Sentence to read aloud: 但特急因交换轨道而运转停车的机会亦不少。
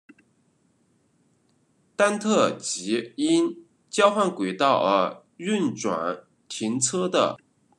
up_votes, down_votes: 1, 2